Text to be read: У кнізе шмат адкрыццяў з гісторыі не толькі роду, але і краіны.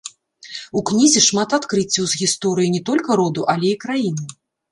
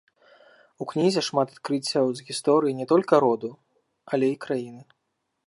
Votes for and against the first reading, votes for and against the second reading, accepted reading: 0, 2, 2, 0, second